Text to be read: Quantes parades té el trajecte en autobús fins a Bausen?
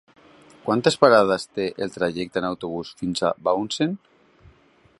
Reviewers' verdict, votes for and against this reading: rejected, 1, 2